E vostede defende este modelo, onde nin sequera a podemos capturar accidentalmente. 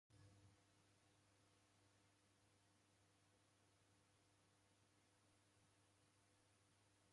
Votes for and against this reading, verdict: 0, 2, rejected